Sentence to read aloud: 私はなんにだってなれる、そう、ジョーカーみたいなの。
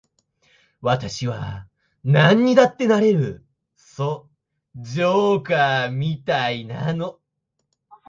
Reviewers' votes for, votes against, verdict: 2, 0, accepted